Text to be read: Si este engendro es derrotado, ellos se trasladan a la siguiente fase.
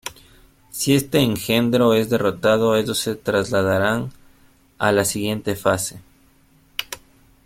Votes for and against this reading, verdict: 1, 2, rejected